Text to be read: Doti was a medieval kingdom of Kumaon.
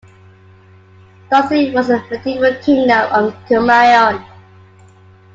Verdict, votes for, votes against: accepted, 2, 0